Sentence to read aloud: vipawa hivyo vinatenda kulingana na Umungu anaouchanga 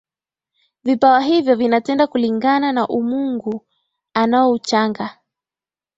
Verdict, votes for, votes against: accepted, 2, 0